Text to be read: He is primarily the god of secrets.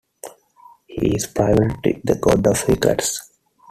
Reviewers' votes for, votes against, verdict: 1, 2, rejected